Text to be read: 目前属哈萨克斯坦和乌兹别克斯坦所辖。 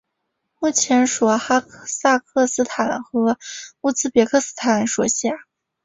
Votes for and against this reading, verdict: 0, 2, rejected